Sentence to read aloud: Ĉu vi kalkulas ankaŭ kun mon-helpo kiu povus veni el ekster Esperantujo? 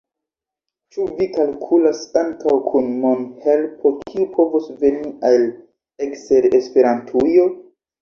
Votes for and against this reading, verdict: 2, 0, accepted